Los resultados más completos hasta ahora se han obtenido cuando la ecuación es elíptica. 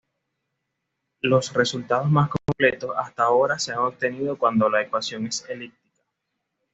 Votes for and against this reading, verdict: 1, 2, rejected